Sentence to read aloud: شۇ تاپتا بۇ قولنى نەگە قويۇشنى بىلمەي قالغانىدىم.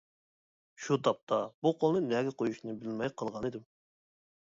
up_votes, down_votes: 2, 0